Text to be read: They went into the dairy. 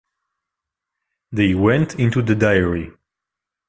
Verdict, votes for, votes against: rejected, 0, 2